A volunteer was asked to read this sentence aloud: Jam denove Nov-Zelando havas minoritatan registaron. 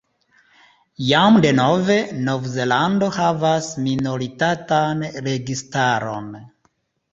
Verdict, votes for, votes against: accepted, 2, 0